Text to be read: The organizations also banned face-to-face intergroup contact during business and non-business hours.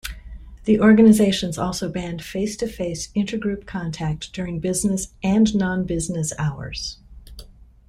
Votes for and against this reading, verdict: 2, 0, accepted